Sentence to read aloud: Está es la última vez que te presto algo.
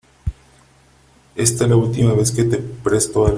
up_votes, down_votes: 0, 3